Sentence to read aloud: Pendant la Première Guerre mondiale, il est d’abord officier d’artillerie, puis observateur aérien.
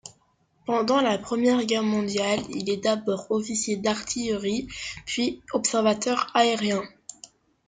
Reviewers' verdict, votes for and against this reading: accepted, 2, 0